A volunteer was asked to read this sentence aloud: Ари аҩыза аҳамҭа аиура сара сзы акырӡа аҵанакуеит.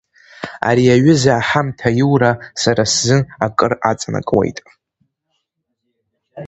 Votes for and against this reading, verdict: 0, 2, rejected